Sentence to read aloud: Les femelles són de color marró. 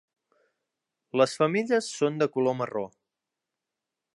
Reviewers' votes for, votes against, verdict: 2, 0, accepted